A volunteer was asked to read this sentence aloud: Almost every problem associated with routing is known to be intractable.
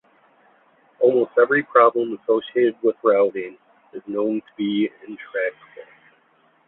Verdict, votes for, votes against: rejected, 1, 2